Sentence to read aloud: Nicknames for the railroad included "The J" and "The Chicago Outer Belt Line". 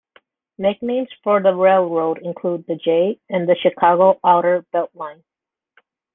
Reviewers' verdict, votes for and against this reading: accepted, 2, 1